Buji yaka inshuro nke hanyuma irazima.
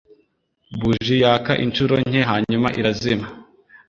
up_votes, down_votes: 2, 0